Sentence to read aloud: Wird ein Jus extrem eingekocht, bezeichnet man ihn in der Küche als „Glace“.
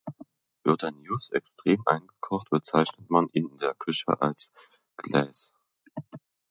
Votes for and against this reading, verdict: 2, 1, accepted